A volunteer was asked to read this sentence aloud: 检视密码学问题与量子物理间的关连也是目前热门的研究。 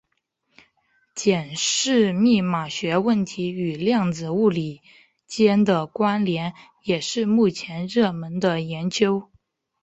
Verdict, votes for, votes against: rejected, 1, 2